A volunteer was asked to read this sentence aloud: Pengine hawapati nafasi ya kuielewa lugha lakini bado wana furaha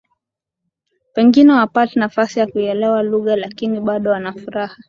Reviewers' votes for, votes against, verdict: 3, 0, accepted